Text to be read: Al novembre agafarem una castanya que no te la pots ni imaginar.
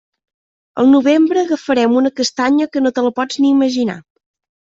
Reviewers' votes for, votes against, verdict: 2, 0, accepted